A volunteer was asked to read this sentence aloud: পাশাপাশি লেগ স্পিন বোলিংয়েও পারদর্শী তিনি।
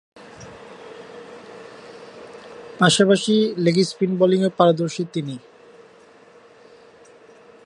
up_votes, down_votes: 2, 1